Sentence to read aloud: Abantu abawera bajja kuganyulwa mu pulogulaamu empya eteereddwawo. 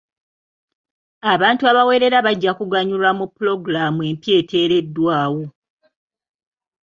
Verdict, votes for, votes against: rejected, 1, 2